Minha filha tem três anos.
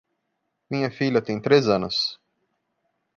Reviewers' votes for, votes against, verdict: 2, 0, accepted